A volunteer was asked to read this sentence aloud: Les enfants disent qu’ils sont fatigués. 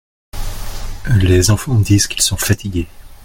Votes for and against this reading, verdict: 2, 0, accepted